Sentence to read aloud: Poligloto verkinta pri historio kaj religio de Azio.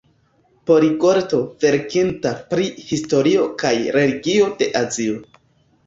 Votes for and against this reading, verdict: 1, 2, rejected